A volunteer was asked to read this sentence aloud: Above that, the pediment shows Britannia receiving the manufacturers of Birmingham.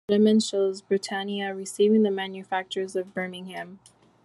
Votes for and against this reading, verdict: 1, 2, rejected